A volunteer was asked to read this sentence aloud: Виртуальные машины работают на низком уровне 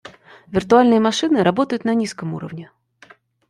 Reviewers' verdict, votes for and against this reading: accepted, 2, 0